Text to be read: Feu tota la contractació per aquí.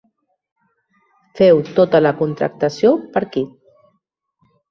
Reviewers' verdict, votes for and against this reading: accepted, 3, 1